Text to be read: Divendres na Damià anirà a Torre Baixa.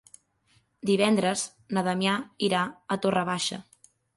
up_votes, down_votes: 1, 3